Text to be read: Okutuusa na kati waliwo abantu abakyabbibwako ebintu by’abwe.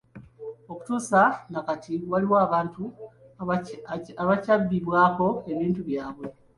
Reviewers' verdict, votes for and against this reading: accepted, 2, 1